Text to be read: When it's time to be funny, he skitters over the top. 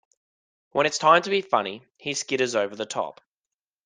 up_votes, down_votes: 2, 0